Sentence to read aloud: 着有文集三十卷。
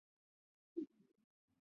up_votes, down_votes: 1, 4